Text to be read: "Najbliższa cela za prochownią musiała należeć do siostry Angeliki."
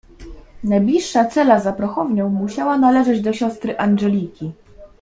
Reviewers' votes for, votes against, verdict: 1, 2, rejected